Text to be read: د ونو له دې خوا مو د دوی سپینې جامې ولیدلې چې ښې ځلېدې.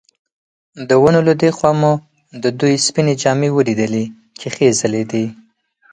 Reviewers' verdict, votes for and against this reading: accepted, 4, 0